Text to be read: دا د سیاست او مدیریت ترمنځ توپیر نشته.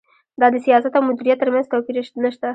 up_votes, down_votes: 2, 1